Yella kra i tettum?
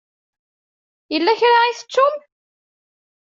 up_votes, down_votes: 2, 0